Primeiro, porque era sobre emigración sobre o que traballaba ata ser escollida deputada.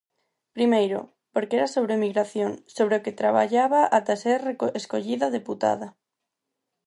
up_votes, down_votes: 0, 4